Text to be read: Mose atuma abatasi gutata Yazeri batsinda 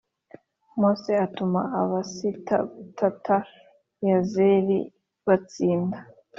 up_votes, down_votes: 1, 2